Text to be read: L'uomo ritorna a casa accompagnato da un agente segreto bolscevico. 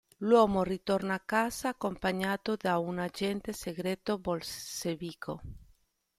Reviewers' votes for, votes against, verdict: 0, 2, rejected